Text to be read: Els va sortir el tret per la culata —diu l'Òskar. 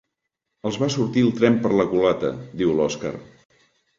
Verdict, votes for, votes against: rejected, 1, 2